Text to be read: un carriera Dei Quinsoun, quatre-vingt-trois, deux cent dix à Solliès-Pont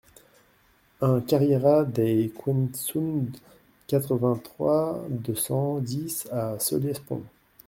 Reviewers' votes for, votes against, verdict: 2, 0, accepted